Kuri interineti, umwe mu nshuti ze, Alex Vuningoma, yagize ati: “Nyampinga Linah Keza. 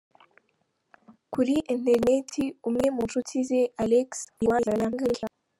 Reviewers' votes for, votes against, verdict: 0, 2, rejected